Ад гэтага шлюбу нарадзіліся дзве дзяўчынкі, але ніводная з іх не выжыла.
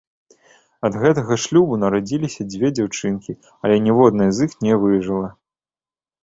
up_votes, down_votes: 2, 0